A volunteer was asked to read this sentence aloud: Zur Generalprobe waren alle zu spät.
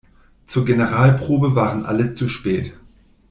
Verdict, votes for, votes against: accepted, 2, 0